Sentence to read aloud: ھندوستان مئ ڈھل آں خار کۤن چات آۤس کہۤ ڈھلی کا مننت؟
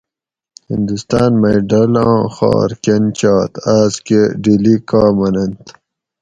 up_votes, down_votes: 2, 2